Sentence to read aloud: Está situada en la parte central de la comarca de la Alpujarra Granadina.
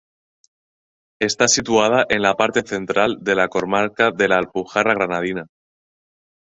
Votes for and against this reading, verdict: 0, 2, rejected